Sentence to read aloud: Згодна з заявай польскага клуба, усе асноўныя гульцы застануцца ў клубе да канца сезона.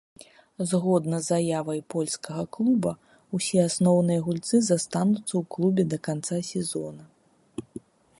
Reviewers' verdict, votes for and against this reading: rejected, 1, 2